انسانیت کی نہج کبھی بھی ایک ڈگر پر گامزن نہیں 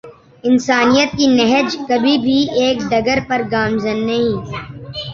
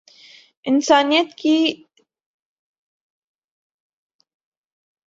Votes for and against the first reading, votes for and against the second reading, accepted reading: 2, 0, 1, 2, first